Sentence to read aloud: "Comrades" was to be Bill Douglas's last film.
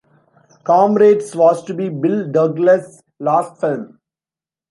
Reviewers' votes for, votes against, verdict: 0, 2, rejected